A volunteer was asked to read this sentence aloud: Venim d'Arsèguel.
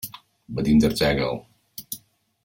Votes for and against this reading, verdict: 2, 1, accepted